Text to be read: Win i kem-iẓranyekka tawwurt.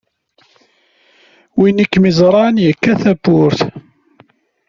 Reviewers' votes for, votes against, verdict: 0, 2, rejected